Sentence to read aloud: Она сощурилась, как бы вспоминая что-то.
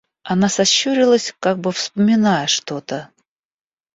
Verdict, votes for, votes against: accepted, 2, 0